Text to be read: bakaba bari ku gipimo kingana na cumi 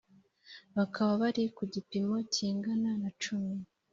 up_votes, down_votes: 4, 0